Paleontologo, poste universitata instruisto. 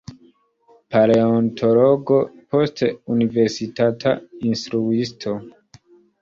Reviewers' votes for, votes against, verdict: 2, 0, accepted